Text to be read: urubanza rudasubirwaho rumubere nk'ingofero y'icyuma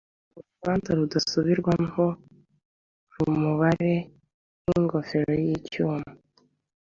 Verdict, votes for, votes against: rejected, 1, 2